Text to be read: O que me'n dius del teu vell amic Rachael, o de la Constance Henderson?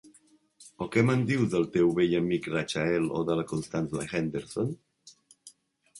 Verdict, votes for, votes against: rejected, 1, 2